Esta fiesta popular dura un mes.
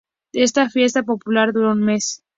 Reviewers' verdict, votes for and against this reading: accepted, 2, 0